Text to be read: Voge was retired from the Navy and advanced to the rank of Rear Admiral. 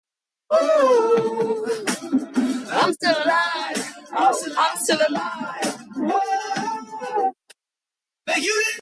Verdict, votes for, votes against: rejected, 0, 2